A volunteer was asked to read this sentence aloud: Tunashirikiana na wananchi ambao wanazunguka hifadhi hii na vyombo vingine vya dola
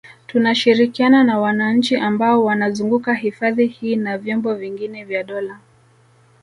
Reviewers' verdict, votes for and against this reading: accepted, 2, 0